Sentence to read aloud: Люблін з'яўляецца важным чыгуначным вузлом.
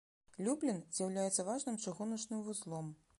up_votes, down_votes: 2, 0